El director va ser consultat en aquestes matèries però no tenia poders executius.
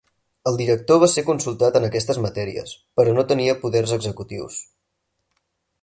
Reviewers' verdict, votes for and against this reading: accepted, 6, 0